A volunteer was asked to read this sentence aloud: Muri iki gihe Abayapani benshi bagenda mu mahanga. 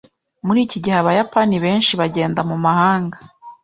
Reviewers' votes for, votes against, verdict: 2, 0, accepted